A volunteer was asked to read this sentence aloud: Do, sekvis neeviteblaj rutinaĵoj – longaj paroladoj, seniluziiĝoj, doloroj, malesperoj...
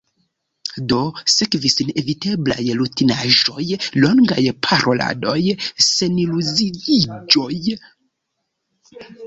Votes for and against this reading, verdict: 1, 2, rejected